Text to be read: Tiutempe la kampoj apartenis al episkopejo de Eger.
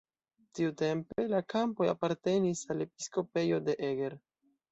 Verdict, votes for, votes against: accepted, 2, 0